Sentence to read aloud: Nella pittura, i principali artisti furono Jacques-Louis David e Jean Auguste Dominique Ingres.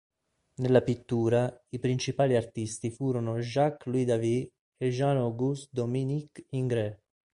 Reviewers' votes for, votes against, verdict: 3, 1, accepted